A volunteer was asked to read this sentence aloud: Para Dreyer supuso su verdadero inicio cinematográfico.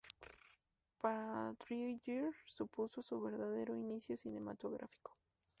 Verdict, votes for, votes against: accepted, 2, 0